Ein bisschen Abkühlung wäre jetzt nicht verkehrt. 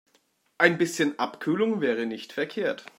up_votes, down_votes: 0, 2